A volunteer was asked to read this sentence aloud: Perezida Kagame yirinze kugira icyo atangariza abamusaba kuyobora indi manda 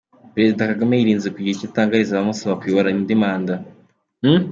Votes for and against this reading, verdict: 2, 0, accepted